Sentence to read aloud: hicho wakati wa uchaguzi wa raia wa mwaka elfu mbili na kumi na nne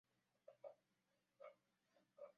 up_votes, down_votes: 0, 2